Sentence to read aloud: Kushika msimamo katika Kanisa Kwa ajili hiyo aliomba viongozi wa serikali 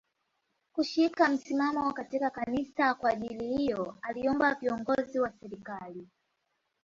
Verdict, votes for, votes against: rejected, 0, 2